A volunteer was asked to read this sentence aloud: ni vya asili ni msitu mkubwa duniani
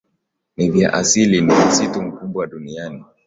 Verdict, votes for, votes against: accepted, 3, 0